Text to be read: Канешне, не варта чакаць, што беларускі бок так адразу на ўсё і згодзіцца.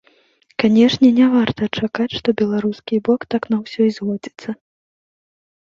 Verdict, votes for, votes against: rejected, 0, 3